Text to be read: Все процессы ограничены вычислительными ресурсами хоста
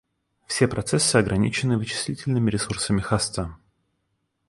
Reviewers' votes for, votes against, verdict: 2, 0, accepted